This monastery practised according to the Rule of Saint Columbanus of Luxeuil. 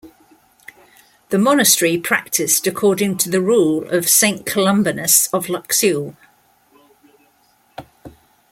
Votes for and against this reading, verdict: 1, 2, rejected